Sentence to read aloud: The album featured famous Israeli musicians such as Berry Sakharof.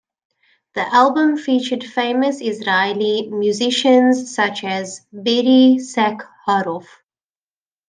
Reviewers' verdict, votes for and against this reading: accepted, 2, 1